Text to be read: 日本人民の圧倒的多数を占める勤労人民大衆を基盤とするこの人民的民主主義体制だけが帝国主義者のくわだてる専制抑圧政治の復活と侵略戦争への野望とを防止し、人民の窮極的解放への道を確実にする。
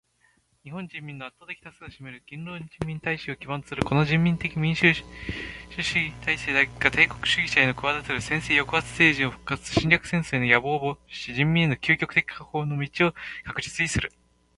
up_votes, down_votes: 2, 0